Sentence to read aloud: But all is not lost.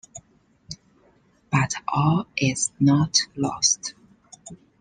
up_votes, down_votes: 2, 0